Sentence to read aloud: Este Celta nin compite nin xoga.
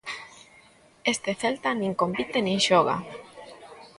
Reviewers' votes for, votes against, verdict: 2, 0, accepted